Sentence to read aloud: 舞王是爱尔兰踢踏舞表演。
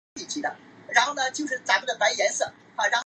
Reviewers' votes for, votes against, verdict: 0, 2, rejected